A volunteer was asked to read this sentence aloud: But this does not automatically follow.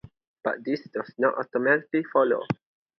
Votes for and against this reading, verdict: 0, 2, rejected